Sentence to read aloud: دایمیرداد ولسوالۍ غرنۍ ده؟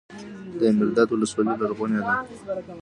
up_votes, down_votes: 2, 0